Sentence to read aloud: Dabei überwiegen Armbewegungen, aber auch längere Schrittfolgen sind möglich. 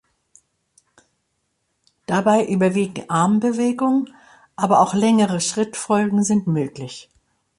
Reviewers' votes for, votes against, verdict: 2, 1, accepted